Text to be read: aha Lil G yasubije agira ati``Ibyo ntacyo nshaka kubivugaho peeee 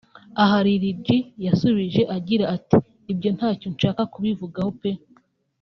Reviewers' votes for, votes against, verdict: 2, 1, accepted